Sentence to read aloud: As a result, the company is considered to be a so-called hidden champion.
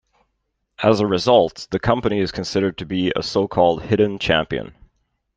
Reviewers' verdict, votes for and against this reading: accepted, 2, 0